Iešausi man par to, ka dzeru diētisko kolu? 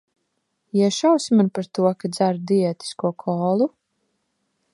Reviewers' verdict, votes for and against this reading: accepted, 3, 0